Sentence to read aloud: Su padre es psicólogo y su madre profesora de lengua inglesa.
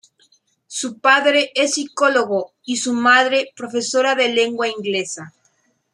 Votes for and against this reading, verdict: 2, 0, accepted